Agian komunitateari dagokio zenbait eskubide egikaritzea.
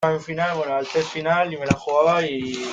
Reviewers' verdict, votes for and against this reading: rejected, 0, 2